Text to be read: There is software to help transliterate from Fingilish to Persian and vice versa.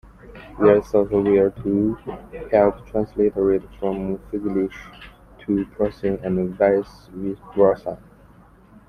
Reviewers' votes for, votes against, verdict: 0, 2, rejected